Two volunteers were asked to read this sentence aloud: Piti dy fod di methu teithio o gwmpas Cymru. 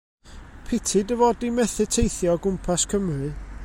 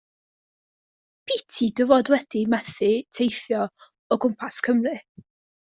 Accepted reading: first